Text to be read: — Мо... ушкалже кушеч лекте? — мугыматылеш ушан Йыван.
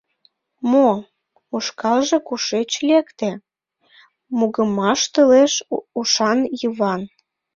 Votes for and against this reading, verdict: 0, 2, rejected